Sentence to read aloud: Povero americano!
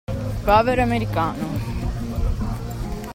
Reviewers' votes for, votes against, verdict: 2, 0, accepted